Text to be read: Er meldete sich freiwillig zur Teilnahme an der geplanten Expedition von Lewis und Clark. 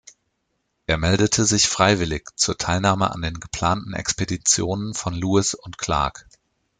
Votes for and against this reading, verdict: 1, 2, rejected